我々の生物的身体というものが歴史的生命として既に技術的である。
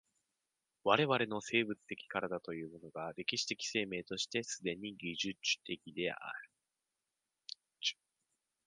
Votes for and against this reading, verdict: 1, 2, rejected